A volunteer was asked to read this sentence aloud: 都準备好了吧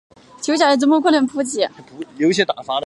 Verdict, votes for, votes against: rejected, 1, 4